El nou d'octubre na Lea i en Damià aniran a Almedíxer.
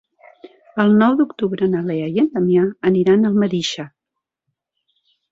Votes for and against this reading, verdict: 3, 0, accepted